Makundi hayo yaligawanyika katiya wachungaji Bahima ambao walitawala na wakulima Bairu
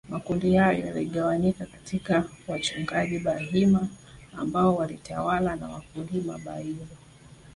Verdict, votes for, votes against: accepted, 4, 3